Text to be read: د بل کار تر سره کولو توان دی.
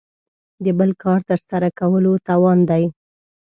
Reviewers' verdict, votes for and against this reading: accepted, 2, 0